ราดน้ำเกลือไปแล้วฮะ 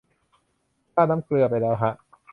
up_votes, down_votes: 2, 0